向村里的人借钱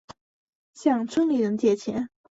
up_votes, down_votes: 0, 2